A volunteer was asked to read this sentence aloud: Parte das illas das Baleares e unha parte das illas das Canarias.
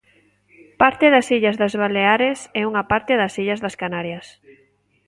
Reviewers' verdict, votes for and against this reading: accepted, 2, 0